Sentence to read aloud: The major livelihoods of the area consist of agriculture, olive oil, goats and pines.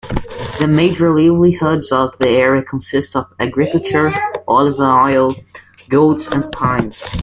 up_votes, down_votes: 0, 2